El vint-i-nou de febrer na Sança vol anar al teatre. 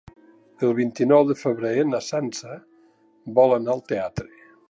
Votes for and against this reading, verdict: 3, 0, accepted